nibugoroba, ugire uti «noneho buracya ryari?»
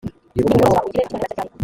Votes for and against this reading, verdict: 2, 0, accepted